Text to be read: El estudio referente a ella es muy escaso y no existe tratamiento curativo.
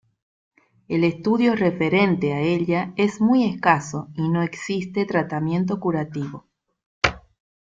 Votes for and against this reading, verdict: 2, 0, accepted